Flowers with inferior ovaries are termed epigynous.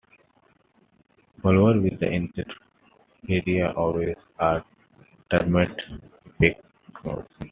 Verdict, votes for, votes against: accepted, 2, 1